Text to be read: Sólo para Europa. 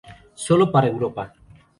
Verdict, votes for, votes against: accepted, 2, 0